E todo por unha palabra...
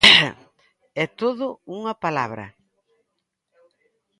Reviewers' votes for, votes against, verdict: 0, 2, rejected